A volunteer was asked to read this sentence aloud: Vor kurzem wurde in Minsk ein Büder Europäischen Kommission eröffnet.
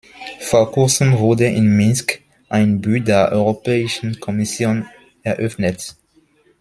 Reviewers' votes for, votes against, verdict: 2, 0, accepted